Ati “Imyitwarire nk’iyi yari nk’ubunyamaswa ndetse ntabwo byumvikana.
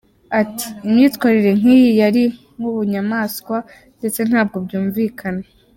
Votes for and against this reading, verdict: 2, 0, accepted